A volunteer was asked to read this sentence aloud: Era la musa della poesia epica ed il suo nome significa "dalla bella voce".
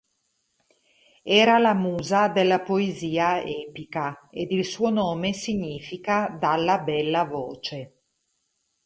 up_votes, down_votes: 2, 2